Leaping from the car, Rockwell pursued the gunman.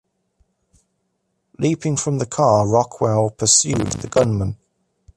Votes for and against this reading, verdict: 2, 1, accepted